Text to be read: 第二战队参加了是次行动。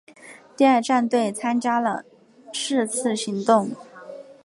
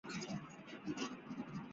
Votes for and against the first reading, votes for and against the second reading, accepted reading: 4, 1, 0, 3, first